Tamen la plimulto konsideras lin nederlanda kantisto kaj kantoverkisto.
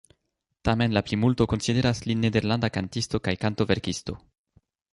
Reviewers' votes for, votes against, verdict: 2, 1, accepted